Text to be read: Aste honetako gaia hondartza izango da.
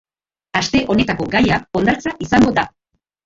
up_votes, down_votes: 0, 3